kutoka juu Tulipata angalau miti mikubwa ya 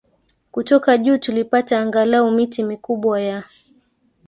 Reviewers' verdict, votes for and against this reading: rejected, 1, 2